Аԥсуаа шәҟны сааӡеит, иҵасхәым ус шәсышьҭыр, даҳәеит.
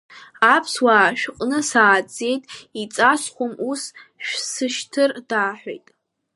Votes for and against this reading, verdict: 3, 1, accepted